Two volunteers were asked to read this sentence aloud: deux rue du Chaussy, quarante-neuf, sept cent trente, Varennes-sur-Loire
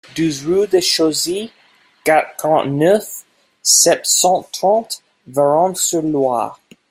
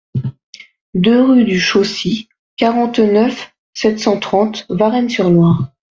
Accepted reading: second